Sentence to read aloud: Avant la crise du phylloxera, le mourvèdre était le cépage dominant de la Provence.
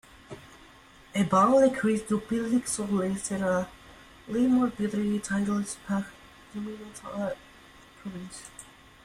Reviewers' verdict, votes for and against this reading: rejected, 0, 3